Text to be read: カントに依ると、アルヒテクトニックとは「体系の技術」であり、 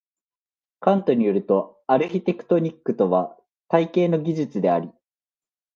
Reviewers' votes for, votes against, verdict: 2, 0, accepted